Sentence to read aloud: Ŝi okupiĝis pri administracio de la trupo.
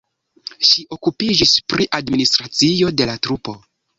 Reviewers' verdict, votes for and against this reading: rejected, 0, 2